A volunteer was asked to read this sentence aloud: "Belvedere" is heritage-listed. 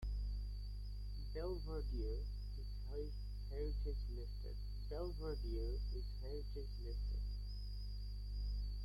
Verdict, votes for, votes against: rejected, 0, 2